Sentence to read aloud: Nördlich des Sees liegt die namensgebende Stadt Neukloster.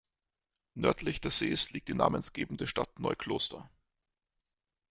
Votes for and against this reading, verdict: 0, 2, rejected